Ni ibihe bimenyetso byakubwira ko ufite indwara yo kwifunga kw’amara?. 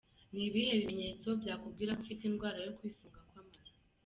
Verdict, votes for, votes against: accepted, 3, 1